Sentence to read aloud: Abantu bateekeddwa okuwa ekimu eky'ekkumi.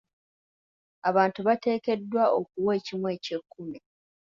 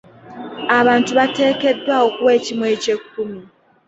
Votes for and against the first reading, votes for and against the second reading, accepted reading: 2, 0, 1, 2, first